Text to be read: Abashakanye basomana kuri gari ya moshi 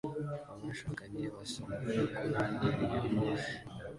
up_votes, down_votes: 0, 2